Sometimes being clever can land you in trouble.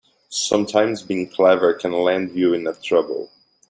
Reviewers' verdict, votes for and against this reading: rejected, 2, 4